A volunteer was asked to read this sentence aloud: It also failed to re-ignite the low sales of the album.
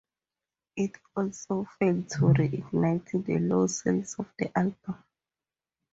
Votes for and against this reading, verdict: 2, 2, rejected